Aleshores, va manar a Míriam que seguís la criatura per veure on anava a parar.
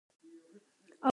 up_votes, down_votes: 0, 4